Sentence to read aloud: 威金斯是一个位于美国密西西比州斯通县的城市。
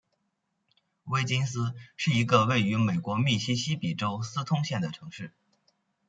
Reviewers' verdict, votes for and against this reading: accepted, 2, 0